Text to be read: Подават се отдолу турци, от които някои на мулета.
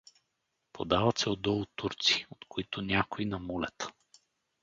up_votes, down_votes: 2, 2